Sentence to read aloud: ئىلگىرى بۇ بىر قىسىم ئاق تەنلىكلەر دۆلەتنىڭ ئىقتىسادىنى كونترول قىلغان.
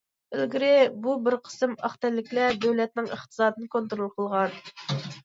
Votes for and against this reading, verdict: 2, 0, accepted